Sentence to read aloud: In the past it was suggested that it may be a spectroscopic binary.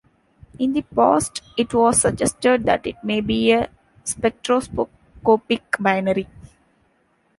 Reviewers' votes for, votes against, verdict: 1, 2, rejected